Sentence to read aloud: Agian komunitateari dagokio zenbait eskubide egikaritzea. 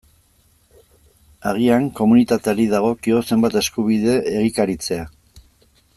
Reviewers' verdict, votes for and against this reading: rejected, 1, 2